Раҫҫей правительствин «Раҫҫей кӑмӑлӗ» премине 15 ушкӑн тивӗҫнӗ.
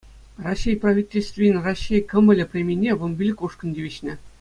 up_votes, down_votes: 0, 2